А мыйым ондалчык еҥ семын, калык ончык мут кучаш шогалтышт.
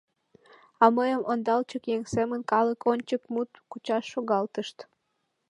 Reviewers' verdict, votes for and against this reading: accepted, 2, 0